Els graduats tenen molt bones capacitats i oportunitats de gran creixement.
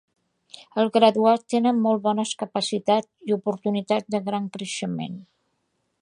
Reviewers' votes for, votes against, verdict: 2, 0, accepted